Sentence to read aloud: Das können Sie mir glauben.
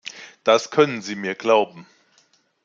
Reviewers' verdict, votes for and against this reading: accepted, 2, 0